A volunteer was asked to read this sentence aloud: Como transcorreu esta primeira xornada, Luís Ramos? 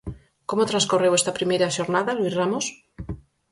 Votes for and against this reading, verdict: 4, 0, accepted